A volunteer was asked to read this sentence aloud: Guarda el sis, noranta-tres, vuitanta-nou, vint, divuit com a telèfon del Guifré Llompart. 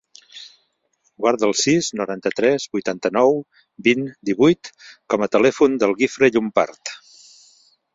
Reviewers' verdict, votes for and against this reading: rejected, 1, 2